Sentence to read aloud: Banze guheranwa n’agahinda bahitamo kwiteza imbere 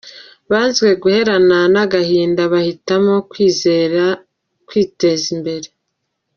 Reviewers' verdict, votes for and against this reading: rejected, 0, 2